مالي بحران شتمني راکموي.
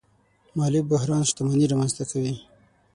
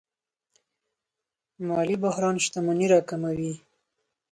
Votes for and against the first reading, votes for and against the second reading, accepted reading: 6, 9, 4, 0, second